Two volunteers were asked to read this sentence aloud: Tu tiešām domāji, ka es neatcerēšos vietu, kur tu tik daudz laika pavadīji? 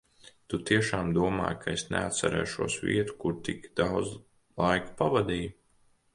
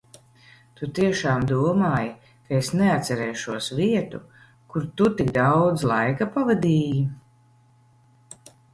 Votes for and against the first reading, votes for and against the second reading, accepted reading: 1, 2, 2, 0, second